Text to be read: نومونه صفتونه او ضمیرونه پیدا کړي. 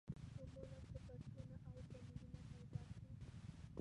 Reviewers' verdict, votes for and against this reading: rejected, 0, 2